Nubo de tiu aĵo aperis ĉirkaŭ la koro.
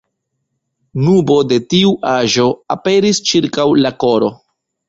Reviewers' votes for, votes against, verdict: 2, 0, accepted